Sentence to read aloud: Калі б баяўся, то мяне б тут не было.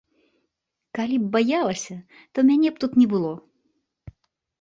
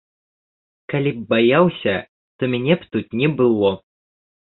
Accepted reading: second